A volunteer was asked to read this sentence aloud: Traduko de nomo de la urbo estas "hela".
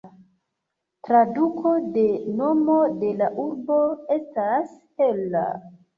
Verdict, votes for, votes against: accepted, 2, 1